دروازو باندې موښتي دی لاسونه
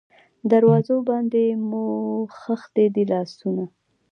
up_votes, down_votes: 2, 0